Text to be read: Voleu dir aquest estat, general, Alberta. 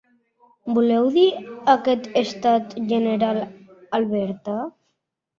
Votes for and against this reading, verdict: 2, 0, accepted